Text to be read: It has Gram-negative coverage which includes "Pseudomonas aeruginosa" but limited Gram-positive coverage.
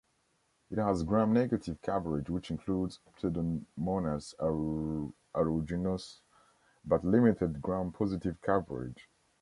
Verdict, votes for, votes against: rejected, 1, 2